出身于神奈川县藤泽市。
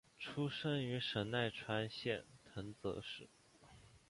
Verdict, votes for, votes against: accepted, 2, 0